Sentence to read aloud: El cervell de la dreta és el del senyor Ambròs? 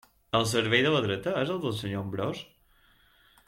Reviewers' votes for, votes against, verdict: 2, 0, accepted